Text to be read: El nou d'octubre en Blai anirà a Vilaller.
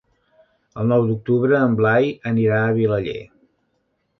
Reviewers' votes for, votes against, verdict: 4, 0, accepted